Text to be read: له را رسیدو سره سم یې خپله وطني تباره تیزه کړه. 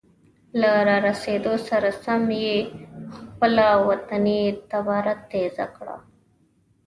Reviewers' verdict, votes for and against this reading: accepted, 2, 0